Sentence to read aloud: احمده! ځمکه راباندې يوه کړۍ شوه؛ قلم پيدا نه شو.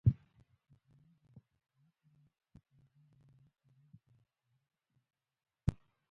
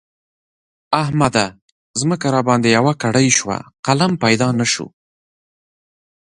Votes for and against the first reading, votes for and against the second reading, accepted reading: 0, 2, 2, 1, second